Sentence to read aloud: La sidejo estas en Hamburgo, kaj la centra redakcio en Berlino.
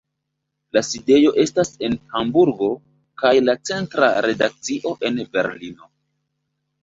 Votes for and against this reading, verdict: 2, 0, accepted